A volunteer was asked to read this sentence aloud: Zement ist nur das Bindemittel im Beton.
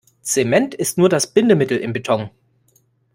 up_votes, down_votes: 2, 0